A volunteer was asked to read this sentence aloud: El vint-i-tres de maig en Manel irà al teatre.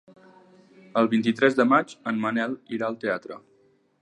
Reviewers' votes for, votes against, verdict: 3, 0, accepted